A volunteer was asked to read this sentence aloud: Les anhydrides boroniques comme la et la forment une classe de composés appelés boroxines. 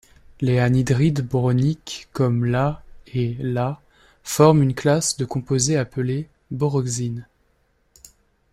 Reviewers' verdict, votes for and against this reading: rejected, 0, 2